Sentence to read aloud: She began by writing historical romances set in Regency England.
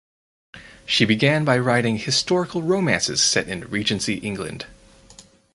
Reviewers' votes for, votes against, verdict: 4, 0, accepted